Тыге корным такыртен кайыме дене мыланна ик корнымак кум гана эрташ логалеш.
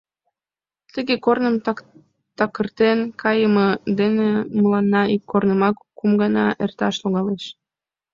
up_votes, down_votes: 2, 1